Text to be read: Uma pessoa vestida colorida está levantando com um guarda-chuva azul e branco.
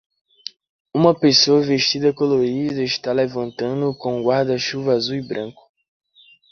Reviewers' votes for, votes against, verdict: 2, 0, accepted